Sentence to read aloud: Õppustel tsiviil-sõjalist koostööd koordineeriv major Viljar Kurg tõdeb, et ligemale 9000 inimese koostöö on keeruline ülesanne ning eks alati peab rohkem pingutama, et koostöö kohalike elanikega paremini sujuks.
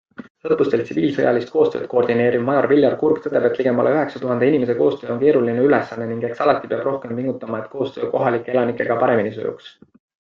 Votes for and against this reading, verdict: 0, 2, rejected